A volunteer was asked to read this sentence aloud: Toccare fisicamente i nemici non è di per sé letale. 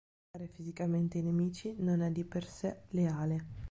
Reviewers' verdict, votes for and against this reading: rejected, 0, 3